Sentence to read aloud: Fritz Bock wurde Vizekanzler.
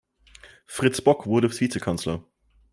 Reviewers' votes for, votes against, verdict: 2, 0, accepted